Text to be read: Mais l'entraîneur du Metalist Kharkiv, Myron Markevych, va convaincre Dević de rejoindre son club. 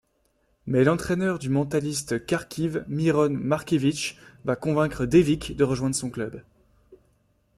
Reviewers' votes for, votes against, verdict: 1, 2, rejected